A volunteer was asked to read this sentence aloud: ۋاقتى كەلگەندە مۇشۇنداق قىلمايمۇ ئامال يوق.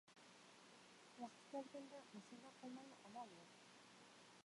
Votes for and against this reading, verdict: 0, 2, rejected